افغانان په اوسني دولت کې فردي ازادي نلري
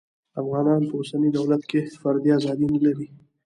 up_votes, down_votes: 1, 2